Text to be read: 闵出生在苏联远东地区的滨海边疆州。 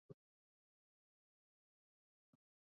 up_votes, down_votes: 3, 2